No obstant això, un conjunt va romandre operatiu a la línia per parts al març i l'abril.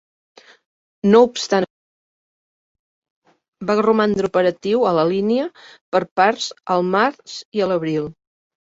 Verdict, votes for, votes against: rejected, 0, 2